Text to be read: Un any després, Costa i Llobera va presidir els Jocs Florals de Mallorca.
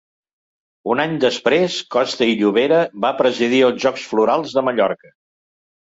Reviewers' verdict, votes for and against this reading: accepted, 2, 0